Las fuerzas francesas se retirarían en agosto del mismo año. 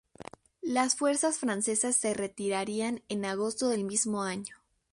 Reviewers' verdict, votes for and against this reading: rejected, 0, 2